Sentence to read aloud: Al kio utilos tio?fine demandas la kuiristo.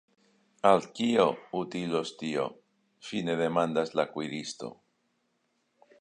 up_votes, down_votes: 1, 2